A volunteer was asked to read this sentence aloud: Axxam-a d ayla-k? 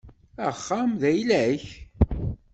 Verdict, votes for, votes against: rejected, 1, 2